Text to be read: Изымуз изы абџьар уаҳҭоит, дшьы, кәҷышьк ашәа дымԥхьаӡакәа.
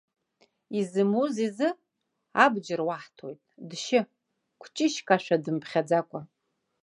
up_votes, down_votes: 2, 0